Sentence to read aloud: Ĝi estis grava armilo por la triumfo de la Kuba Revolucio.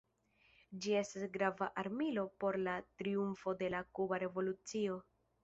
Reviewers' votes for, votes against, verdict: 2, 0, accepted